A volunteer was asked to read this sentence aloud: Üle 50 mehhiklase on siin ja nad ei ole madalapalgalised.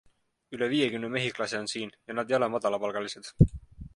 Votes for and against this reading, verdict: 0, 2, rejected